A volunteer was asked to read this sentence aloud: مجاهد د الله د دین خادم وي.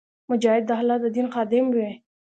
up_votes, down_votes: 1, 2